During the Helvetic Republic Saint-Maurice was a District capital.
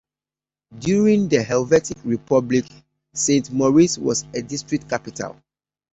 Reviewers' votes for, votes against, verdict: 2, 0, accepted